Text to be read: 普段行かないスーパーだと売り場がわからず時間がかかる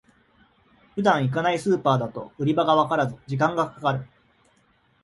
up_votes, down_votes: 2, 0